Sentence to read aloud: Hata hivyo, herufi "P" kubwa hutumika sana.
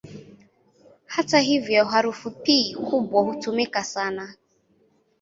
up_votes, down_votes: 1, 2